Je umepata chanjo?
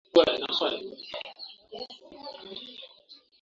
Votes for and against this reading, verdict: 0, 4, rejected